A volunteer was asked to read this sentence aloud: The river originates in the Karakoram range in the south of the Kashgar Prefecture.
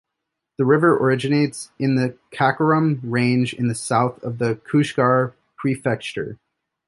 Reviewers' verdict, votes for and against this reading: rejected, 1, 2